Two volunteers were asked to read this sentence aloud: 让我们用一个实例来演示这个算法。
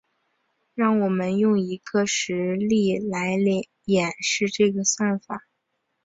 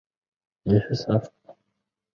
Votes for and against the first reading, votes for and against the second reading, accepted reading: 2, 0, 1, 2, first